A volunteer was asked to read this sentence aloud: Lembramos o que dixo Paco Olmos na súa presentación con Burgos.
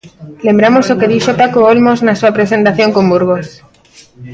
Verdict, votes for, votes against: rejected, 0, 2